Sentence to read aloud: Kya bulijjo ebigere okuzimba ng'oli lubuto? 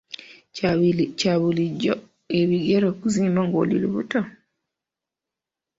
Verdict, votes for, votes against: accepted, 2, 1